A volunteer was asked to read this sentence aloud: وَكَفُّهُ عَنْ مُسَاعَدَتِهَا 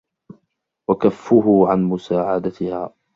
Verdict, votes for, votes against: accepted, 2, 0